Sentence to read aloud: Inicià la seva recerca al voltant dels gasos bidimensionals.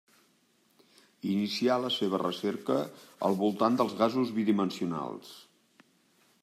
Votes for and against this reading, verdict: 3, 0, accepted